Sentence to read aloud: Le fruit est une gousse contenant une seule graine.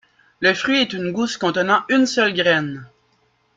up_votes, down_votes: 1, 2